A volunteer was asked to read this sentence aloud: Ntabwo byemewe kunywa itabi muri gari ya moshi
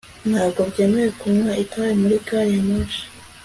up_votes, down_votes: 2, 0